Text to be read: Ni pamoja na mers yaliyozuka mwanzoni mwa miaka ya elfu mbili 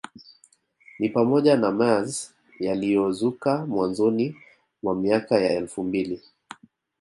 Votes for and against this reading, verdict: 3, 0, accepted